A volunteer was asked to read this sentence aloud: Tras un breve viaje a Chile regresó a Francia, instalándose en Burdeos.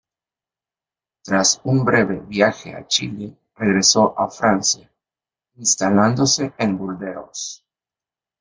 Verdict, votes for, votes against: accepted, 2, 1